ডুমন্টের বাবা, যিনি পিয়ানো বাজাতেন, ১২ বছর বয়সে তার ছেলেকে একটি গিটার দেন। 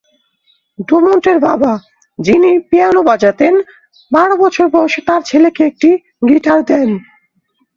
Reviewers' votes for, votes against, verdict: 0, 2, rejected